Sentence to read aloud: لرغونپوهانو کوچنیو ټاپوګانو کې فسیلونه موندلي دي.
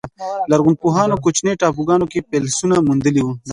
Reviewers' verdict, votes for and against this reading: rejected, 1, 2